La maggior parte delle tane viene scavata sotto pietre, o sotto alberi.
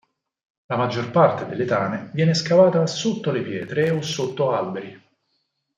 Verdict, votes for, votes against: rejected, 2, 4